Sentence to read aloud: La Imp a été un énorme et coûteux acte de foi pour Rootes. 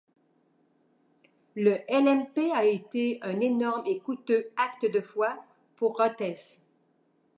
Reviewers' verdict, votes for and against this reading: rejected, 0, 2